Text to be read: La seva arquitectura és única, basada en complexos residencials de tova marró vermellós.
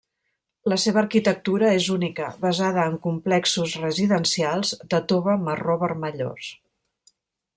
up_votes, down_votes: 1, 2